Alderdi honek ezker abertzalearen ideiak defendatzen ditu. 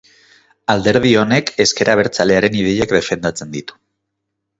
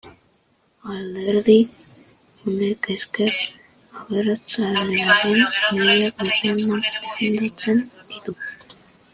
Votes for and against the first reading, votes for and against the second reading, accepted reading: 2, 0, 0, 2, first